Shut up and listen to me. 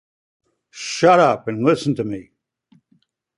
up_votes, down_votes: 2, 0